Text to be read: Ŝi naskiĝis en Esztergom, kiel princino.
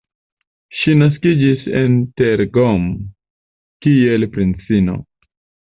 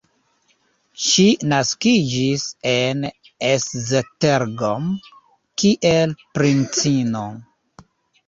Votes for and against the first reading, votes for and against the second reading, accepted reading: 1, 2, 2, 0, second